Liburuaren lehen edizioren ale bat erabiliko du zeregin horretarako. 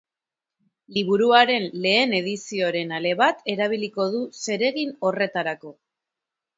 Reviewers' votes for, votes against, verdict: 1, 2, rejected